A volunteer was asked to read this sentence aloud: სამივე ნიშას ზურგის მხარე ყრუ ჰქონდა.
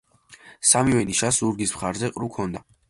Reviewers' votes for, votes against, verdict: 2, 1, accepted